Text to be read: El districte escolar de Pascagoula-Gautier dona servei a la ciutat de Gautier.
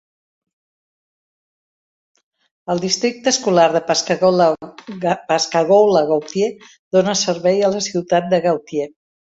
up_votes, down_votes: 0, 2